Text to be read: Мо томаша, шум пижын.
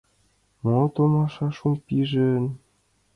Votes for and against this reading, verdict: 2, 0, accepted